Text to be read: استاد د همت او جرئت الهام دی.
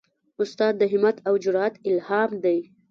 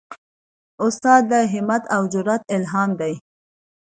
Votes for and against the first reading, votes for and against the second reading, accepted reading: 1, 2, 2, 0, second